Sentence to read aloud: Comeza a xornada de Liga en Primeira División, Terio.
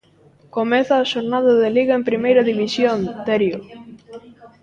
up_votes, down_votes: 2, 0